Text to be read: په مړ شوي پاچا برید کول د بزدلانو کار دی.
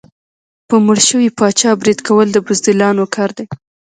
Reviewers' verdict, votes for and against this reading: rejected, 0, 2